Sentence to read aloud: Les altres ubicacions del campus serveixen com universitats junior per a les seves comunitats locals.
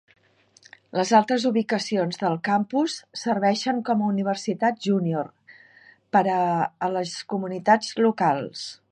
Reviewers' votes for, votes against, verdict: 1, 3, rejected